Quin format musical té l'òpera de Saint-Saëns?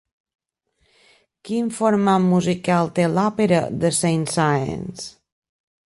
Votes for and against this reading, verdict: 2, 0, accepted